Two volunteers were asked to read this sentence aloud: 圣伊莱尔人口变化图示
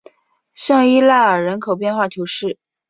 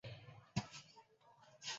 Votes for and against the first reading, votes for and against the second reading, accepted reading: 3, 0, 2, 4, first